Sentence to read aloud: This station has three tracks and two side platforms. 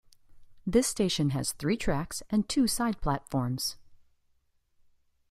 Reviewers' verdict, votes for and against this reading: accepted, 2, 0